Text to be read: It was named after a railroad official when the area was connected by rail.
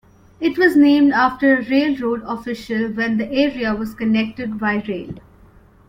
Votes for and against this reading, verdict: 2, 1, accepted